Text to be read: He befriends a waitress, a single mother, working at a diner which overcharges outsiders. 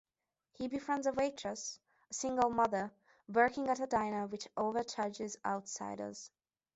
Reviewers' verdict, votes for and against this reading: accepted, 2, 0